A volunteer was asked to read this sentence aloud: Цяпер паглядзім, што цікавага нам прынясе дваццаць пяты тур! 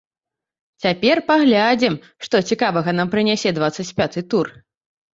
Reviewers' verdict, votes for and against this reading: rejected, 2, 3